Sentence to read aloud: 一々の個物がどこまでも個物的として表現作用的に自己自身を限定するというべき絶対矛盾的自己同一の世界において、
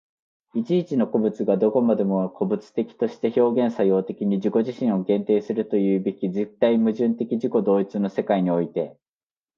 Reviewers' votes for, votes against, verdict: 2, 0, accepted